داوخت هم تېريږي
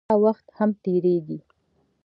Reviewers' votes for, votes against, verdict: 2, 0, accepted